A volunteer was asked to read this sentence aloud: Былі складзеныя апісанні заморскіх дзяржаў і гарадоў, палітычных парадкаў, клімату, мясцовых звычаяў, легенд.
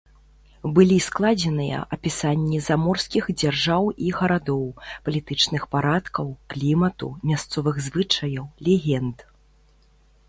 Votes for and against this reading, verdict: 3, 0, accepted